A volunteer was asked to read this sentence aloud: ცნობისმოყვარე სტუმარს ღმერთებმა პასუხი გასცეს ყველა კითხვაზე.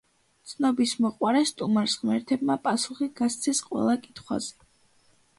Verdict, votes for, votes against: accepted, 2, 0